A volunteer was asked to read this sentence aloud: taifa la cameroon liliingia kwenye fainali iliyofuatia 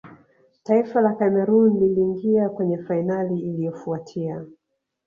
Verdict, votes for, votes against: accepted, 2, 0